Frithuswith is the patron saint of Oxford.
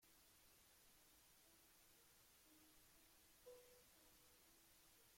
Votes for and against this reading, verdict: 0, 2, rejected